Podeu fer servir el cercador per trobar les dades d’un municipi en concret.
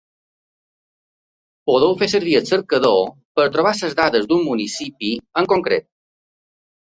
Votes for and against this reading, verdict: 1, 2, rejected